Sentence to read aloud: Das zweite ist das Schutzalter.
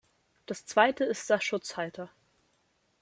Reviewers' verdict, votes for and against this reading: rejected, 0, 2